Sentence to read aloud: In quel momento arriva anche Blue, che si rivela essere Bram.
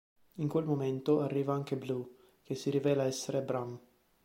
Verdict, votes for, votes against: accepted, 4, 0